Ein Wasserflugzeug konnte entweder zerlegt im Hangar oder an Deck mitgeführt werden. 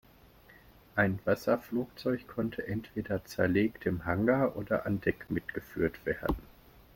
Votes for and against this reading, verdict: 2, 0, accepted